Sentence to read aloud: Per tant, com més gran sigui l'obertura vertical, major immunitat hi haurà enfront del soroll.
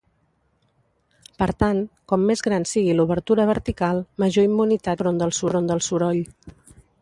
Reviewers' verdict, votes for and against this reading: rejected, 0, 2